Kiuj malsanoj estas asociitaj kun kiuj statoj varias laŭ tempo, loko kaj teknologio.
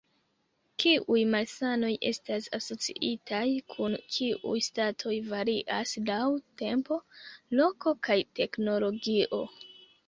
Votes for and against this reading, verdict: 1, 2, rejected